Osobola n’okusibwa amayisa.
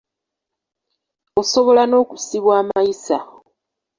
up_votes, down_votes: 2, 0